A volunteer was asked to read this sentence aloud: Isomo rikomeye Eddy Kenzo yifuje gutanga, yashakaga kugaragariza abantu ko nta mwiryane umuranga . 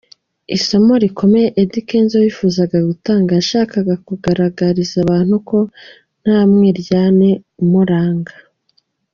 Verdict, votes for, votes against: rejected, 1, 2